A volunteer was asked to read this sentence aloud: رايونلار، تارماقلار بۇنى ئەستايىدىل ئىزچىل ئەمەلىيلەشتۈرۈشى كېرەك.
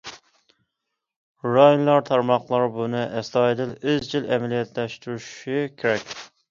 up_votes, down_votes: 1, 2